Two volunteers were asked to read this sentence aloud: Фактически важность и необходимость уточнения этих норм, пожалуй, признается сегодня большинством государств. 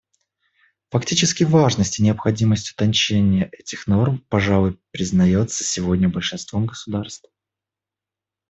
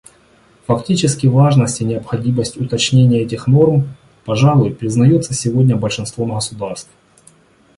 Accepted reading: second